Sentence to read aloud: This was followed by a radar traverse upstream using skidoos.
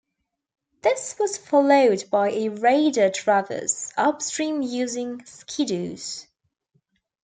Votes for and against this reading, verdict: 2, 1, accepted